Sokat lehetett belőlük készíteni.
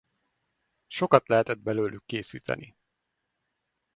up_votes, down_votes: 2, 2